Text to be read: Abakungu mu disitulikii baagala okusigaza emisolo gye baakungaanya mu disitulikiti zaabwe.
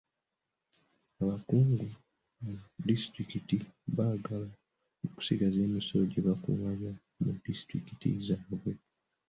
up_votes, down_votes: 2, 0